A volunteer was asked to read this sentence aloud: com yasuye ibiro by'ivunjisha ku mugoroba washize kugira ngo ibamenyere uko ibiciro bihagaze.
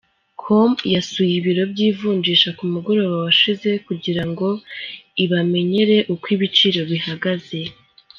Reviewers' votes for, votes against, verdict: 4, 1, accepted